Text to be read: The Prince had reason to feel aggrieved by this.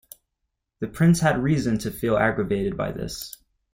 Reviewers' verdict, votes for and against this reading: accepted, 2, 0